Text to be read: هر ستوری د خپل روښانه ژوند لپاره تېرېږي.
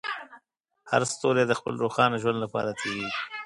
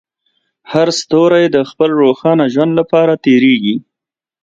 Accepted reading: second